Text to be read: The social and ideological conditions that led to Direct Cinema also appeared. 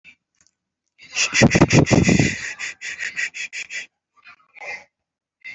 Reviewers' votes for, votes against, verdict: 0, 2, rejected